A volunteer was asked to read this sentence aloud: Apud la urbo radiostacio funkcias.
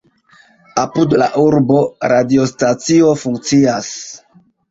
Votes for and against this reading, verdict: 2, 0, accepted